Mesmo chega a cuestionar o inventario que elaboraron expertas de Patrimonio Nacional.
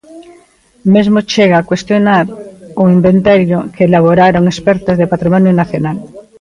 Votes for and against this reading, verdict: 1, 2, rejected